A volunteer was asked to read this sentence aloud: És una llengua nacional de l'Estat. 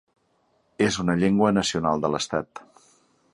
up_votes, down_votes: 3, 0